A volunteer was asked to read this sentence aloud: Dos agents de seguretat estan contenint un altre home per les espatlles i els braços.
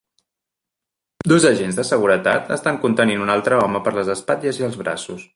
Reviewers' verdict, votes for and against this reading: accepted, 3, 0